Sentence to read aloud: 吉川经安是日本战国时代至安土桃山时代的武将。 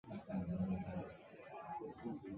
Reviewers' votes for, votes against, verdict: 0, 3, rejected